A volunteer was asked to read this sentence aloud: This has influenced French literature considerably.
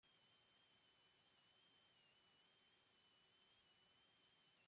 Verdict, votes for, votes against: rejected, 0, 2